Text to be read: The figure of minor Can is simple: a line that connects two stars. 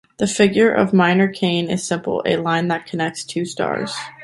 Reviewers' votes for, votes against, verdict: 1, 2, rejected